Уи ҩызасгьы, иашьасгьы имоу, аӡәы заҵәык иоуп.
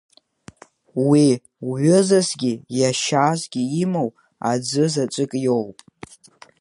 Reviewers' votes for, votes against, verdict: 0, 2, rejected